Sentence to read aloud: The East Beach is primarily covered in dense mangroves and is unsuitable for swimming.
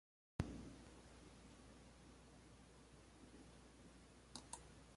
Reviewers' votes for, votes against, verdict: 0, 3, rejected